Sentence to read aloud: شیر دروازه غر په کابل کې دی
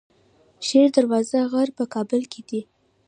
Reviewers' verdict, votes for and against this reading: rejected, 0, 2